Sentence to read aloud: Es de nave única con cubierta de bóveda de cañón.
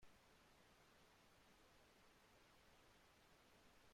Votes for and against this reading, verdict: 0, 2, rejected